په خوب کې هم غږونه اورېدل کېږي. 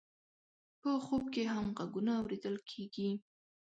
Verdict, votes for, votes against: rejected, 1, 2